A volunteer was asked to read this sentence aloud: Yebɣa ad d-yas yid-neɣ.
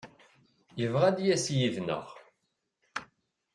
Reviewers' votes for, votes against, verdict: 2, 0, accepted